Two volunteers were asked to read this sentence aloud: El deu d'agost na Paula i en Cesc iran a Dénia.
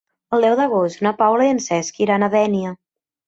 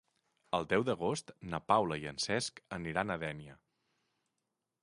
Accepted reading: first